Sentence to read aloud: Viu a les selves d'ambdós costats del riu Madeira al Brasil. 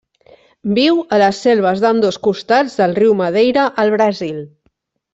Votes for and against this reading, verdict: 3, 0, accepted